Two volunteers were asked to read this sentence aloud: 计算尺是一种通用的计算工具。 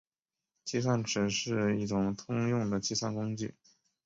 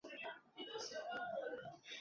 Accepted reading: first